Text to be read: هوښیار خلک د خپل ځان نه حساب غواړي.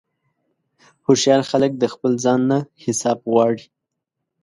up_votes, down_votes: 2, 0